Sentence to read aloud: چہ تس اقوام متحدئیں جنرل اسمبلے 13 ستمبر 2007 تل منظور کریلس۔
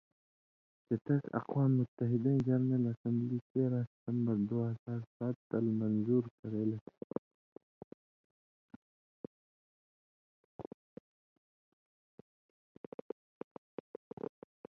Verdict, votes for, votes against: rejected, 0, 2